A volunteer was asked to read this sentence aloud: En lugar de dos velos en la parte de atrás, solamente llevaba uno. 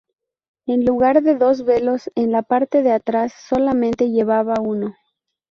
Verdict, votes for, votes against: accepted, 2, 0